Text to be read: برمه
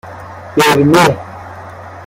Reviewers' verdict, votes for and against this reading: rejected, 0, 2